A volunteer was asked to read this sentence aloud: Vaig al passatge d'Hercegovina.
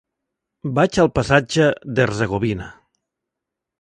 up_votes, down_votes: 5, 0